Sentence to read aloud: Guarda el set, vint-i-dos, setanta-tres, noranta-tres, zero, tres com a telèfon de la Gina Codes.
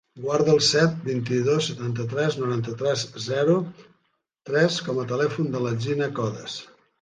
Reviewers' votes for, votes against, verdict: 1, 2, rejected